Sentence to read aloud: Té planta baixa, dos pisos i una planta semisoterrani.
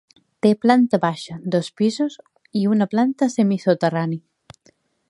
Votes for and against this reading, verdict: 2, 0, accepted